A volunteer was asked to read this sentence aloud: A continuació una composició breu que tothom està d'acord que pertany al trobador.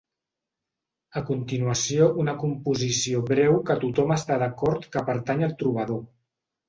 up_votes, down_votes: 3, 0